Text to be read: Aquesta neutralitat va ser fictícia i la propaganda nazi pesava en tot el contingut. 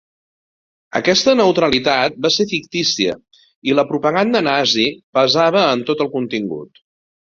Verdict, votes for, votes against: accepted, 2, 0